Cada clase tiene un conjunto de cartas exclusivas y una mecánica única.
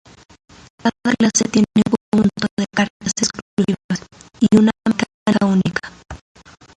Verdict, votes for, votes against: rejected, 0, 2